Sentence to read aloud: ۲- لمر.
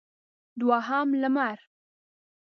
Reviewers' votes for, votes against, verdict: 0, 2, rejected